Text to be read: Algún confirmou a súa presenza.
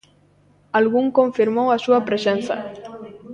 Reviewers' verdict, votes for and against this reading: rejected, 0, 2